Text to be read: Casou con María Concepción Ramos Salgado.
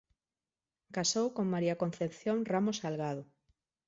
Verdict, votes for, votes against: accepted, 2, 0